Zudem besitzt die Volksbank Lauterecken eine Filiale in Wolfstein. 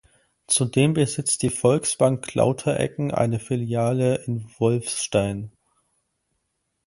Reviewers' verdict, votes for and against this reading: rejected, 2, 4